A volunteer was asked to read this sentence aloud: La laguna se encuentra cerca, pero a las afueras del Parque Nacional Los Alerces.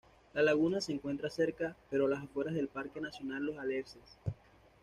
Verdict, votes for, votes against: accepted, 2, 1